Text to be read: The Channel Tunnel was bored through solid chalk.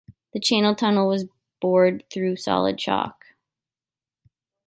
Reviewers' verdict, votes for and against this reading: accepted, 2, 0